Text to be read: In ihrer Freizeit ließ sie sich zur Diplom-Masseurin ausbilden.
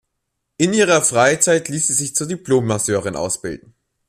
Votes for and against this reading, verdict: 2, 0, accepted